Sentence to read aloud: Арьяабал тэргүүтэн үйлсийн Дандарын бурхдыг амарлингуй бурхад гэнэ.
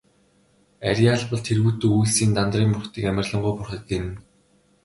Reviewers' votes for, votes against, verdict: 2, 0, accepted